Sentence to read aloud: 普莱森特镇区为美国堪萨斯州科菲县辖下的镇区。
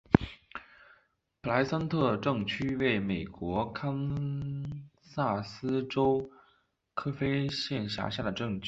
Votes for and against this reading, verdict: 3, 0, accepted